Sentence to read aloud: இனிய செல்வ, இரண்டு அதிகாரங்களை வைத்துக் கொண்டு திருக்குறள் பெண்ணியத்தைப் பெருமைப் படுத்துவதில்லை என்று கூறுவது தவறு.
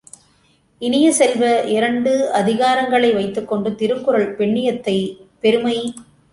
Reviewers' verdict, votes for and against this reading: rejected, 0, 2